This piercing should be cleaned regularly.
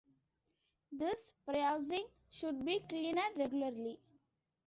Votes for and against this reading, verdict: 0, 2, rejected